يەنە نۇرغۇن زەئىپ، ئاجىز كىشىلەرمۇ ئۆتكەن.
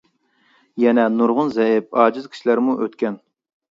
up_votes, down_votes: 2, 0